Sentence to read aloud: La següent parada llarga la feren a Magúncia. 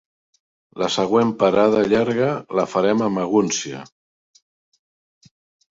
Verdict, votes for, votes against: rejected, 1, 2